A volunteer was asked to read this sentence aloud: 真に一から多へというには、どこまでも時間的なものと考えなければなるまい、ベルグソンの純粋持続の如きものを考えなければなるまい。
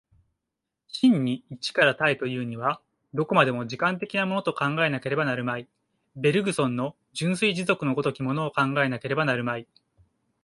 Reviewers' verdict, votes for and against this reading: accepted, 2, 0